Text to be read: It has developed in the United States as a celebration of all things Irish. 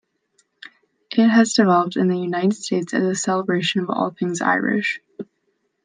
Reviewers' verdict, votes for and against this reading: rejected, 1, 2